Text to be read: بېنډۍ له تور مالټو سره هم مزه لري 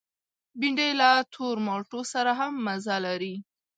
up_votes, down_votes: 2, 0